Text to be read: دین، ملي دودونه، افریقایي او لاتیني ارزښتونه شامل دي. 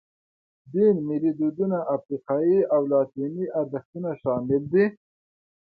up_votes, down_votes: 1, 2